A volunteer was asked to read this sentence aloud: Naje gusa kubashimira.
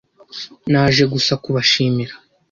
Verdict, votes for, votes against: accepted, 2, 0